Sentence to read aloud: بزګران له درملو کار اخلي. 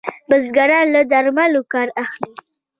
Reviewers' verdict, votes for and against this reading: accepted, 2, 0